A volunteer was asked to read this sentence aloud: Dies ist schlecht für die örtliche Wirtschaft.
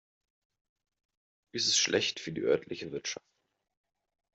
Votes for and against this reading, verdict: 2, 0, accepted